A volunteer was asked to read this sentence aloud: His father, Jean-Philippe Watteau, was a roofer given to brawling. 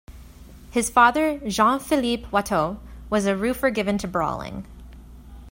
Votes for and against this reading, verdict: 2, 0, accepted